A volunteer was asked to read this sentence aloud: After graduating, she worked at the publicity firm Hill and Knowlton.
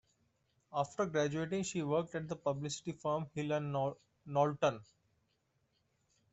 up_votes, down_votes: 1, 2